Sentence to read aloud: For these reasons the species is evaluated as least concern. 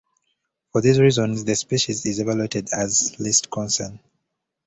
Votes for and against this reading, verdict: 2, 1, accepted